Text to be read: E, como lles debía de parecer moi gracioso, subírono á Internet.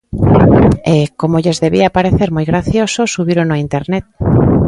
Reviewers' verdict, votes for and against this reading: rejected, 1, 2